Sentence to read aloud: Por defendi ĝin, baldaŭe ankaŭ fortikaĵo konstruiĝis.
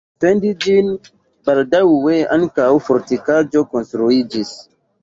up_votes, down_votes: 1, 2